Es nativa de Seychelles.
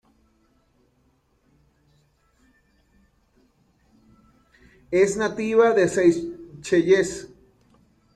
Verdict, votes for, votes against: rejected, 1, 2